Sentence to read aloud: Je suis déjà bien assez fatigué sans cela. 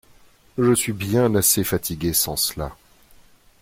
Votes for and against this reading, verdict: 1, 2, rejected